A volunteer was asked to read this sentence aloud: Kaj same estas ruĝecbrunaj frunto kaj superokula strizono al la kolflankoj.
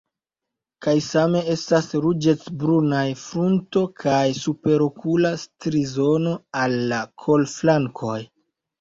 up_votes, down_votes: 2, 0